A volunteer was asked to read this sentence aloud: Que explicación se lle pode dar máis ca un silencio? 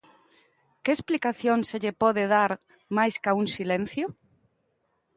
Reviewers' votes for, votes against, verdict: 2, 0, accepted